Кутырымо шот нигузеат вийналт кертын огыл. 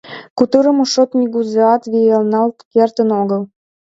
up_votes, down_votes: 2, 1